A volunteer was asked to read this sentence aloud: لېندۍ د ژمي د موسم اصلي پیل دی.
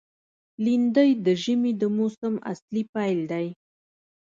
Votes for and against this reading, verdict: 2, 0, accepted